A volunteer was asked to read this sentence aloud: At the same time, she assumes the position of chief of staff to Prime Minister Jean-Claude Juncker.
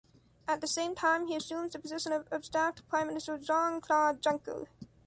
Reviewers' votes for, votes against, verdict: 1, 2, rejected